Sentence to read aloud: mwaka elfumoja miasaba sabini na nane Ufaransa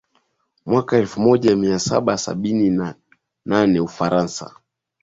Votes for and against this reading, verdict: 2, 0, accepted